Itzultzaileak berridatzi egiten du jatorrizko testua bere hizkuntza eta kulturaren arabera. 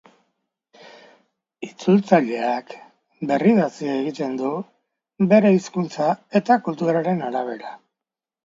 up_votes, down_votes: 0, 2